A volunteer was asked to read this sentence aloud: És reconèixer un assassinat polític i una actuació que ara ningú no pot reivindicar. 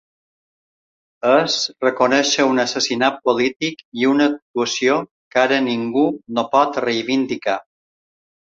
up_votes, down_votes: 3, 0